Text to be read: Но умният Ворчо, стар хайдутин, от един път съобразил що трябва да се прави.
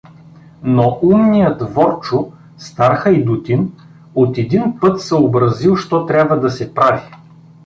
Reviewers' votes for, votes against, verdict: 2, 0, accepted